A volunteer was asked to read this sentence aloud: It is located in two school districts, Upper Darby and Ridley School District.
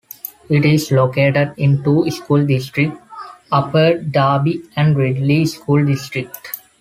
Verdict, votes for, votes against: accepted, 2, 1